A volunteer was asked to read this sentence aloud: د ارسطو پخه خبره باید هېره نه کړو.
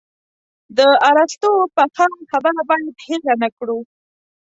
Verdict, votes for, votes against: accepted, 2, 0